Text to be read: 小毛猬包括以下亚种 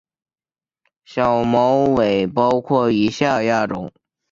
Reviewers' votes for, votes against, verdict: 3, 0, accepted